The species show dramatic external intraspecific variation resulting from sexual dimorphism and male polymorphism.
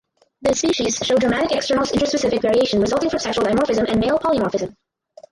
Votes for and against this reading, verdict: 0, 4, rejected